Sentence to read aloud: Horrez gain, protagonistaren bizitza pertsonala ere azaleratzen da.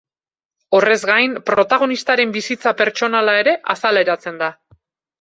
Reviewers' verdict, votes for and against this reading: accepted, 2, 0